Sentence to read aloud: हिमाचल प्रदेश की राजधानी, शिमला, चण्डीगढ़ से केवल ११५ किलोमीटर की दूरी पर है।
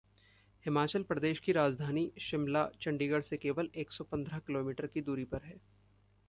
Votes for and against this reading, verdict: 0, 2, rejected